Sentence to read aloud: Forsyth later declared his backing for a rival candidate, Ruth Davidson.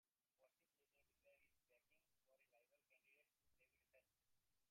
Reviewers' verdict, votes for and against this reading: rejected, 0, 2